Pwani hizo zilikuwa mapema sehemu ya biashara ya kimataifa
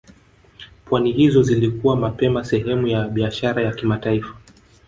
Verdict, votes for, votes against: rejected, 0, 2